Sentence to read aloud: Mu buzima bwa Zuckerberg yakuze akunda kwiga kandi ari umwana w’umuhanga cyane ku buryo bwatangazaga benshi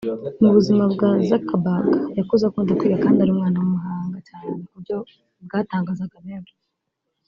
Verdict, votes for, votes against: rejected, 1, 2